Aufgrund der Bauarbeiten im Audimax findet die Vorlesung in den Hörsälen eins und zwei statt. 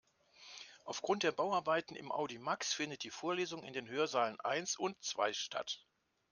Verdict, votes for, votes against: rejected, 1, 2